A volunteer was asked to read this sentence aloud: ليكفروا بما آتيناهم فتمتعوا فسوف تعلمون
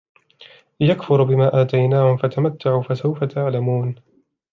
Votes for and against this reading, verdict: 2, 0, accepted